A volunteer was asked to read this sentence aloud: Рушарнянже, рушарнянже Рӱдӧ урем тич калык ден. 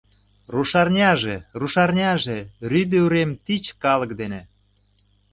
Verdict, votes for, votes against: rejected, 0, 2